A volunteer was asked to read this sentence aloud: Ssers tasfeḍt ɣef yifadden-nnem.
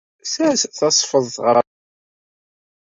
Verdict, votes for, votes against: rejected, 1, 2